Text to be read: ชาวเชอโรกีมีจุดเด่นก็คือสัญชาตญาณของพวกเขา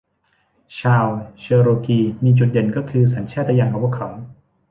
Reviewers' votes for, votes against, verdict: 2, 0, accepted